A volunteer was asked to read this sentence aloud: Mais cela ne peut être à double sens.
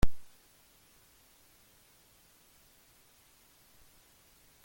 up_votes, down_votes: 0, 2